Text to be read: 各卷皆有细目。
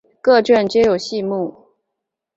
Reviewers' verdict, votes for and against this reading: accepted, 4, 0